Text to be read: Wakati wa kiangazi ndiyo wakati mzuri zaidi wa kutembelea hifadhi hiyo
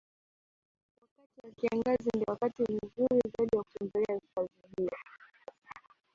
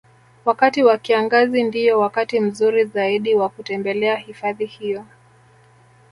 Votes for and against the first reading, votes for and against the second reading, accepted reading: 2, 1, 1, 2, first